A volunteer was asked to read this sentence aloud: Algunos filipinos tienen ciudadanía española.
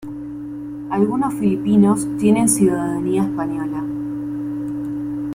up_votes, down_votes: 2, 0